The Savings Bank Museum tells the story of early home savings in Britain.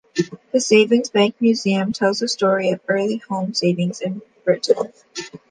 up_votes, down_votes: 2, 1